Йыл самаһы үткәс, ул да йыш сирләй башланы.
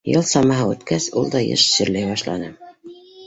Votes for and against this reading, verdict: 1, 2, rejected